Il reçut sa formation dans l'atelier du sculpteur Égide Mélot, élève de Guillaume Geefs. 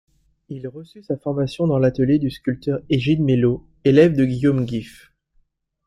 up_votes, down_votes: 0, 2